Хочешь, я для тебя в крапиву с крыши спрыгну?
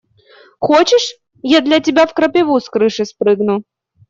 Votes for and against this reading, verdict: 2, 0, accepted